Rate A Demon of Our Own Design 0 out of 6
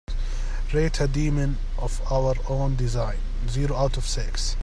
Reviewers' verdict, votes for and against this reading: rejected, 0, 2